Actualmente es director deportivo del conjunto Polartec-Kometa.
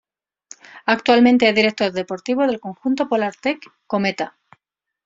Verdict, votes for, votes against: accepted, 2, 0